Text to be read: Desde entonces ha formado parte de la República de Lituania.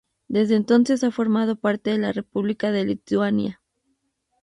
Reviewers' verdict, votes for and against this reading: accepted, 2, 0